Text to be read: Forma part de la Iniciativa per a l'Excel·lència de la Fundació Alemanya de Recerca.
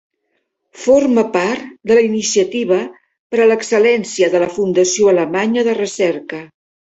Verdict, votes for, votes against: rejected, 1, 2